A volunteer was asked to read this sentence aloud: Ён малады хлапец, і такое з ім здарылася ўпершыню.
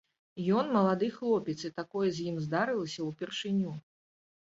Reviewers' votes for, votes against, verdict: 3, 0, accepted